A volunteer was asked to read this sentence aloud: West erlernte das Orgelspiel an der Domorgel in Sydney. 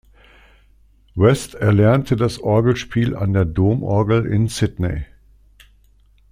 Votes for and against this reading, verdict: 2, 0, accepted